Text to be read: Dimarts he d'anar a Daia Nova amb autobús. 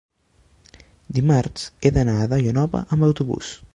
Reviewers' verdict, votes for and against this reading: accepted, 2, 0